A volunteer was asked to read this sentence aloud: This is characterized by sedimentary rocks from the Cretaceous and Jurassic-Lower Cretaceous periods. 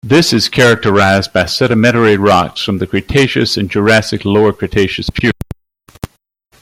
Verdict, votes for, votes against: rejected, 0, 2